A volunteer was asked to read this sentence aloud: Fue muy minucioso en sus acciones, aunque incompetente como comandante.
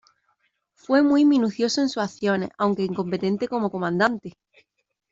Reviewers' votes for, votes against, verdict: 1, 2, rejected